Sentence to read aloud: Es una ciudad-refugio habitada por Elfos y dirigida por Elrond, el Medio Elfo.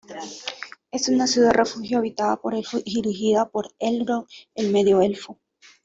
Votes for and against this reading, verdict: 2, 0, accepted